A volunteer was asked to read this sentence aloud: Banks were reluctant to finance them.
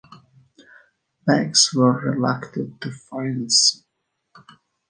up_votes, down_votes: 0, 2